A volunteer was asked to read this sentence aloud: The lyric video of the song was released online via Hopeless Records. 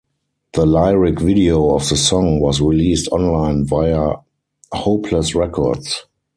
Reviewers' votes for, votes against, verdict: 2, 4, rejected